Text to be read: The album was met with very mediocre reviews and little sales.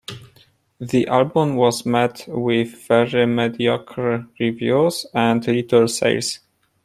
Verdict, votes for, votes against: rejected, 1, 2